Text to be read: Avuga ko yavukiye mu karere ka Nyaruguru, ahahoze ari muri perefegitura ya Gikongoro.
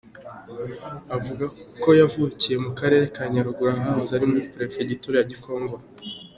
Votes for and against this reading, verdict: 2, 0, accepted